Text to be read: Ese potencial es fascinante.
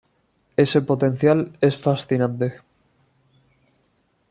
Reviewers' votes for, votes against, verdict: 2, 0, accepted